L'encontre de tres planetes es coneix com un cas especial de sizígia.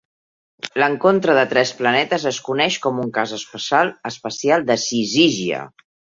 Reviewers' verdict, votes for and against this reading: rejected, 1, 2